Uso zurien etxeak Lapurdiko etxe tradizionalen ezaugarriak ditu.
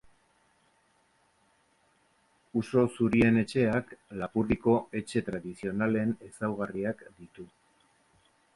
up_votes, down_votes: 2, 0